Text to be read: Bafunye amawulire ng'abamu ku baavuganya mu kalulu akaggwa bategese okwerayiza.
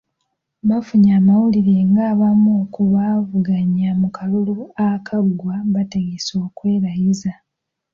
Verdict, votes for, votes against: accepted, 2, 0